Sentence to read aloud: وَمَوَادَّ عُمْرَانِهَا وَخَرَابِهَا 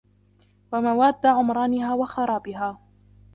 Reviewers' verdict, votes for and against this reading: rejected, 1, 2